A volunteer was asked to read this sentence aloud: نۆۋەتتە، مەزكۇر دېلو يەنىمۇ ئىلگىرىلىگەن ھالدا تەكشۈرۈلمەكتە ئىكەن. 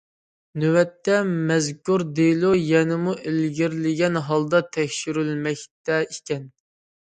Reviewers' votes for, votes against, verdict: 2, 0, accepted